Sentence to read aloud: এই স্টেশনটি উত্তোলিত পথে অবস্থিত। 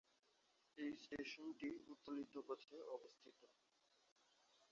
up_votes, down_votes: 1, 2